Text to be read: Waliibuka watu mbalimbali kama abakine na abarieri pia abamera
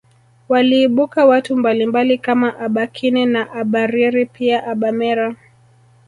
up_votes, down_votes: 1, 2